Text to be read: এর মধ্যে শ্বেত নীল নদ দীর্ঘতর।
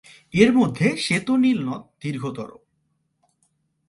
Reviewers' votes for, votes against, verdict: 2, 0, accepted